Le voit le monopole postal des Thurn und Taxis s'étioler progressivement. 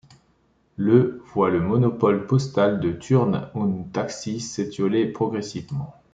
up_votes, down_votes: 0, 2